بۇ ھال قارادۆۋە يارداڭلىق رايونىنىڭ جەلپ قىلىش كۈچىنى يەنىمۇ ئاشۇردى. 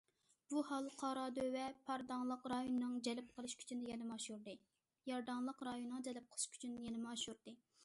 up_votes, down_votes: 0, 2